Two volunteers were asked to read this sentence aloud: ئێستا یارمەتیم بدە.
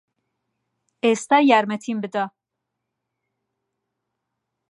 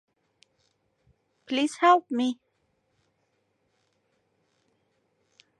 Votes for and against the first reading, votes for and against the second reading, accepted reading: 2, 0, 0, 2, first